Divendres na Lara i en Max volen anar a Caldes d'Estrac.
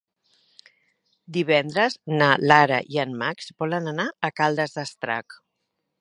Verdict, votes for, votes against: accepted, 3, 0